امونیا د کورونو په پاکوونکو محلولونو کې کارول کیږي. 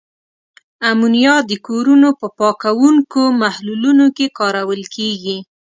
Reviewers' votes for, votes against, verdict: 3, 0, accepted